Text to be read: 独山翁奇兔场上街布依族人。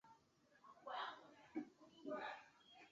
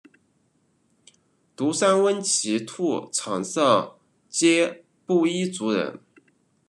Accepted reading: second